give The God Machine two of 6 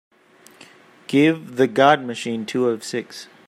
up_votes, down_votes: 0, 2